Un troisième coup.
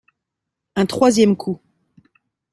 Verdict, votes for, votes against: accepted, 2, 0